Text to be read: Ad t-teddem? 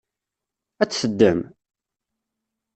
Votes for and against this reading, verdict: 2, 0, accepted